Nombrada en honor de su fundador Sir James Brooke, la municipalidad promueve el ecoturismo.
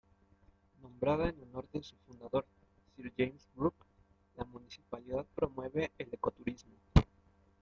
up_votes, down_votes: 1, 2